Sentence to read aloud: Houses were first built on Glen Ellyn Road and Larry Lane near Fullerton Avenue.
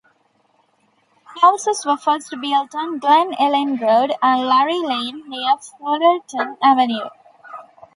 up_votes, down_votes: 2, 3